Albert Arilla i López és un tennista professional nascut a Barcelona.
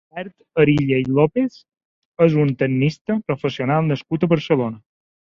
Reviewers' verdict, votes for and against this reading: rejected, 0, 2